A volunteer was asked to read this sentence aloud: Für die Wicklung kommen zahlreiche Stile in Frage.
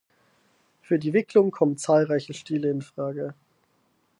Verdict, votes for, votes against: accepted, 4, 0